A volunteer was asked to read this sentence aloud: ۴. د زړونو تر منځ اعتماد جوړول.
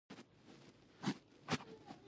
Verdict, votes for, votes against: rejected, 0, 2